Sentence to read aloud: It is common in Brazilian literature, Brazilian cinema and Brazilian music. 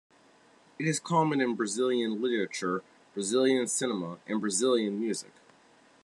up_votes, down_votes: 1, 3